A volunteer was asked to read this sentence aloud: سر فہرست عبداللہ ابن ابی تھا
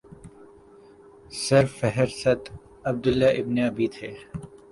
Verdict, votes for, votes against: rejected, 0, 2